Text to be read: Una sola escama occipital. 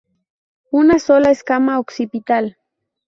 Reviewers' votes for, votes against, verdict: 2, 0, accepted